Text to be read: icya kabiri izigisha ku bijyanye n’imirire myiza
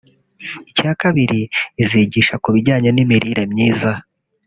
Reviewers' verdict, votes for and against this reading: rejected, 0, 2